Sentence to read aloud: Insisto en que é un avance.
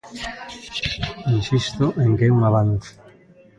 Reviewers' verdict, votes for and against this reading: rejected, 1, 2